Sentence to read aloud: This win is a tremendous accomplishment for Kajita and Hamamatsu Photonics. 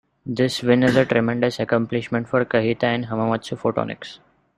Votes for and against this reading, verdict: 0, 2, rejected